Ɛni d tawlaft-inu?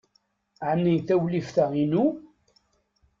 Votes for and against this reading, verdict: 1, 2, rejected